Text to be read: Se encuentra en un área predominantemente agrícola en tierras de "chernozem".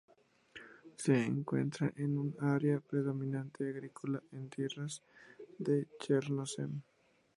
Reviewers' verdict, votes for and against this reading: rejected, 0, 2